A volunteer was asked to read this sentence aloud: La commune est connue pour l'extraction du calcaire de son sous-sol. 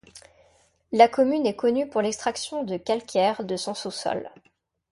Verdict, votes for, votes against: rejected, 1, 2